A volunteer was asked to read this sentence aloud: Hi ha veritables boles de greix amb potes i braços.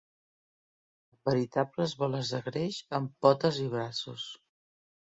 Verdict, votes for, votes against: rejected, 0, 2